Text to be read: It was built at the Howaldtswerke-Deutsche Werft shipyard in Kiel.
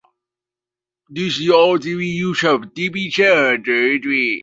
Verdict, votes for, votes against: rejected, 1, 2